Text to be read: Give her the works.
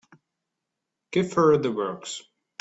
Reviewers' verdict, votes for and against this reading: accepted, 2, 0